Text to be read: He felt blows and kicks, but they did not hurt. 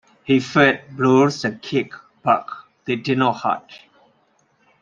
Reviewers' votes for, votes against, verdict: 0, 2, rejected